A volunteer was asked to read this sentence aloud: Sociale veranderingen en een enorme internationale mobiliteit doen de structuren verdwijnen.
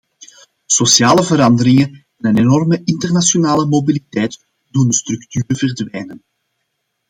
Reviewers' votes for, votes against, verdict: 2, 0, accepted